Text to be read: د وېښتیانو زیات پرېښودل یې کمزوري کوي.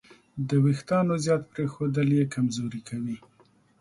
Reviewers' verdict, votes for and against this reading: accepted, 3, 0